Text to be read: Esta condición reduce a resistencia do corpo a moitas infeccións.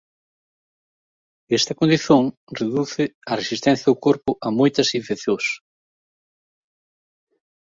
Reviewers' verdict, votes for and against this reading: accepted, 2, 0